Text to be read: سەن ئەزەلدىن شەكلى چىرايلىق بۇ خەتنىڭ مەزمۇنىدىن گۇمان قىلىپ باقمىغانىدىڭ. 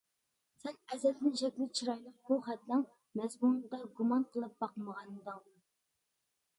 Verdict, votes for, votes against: rejected, 1, 2